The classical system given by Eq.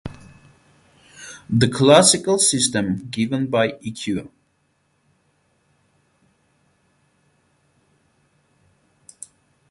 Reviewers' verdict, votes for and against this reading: rejected, 4, 4